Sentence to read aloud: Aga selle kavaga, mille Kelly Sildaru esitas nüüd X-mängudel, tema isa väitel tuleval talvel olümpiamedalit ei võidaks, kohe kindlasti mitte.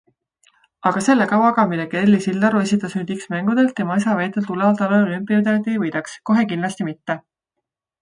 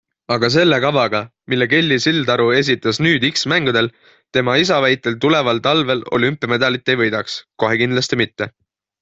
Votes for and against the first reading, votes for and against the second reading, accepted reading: 1, 2, 2, 0, second